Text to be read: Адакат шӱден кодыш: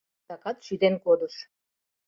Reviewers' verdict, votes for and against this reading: accepted, 2, 0